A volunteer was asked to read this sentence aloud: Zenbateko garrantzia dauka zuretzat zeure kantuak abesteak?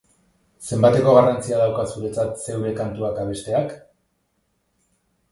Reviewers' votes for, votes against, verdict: 2, 0, accepted